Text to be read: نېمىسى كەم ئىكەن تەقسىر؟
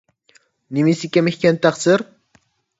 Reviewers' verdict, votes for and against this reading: accepted, 2, 0